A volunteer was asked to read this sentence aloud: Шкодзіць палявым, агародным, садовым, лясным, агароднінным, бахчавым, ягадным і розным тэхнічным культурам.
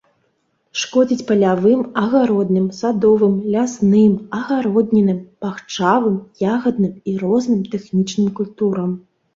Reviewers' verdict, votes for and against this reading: rejected, 0, 2